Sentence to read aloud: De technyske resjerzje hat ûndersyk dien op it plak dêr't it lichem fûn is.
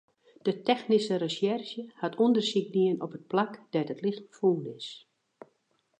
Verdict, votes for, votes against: accepted, 2, 0